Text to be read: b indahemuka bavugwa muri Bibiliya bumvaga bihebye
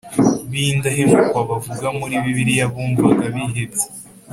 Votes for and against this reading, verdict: 3, 0, accepted